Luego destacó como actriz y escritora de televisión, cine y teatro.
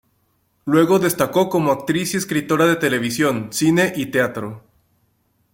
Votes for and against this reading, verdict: 2, 1, accepted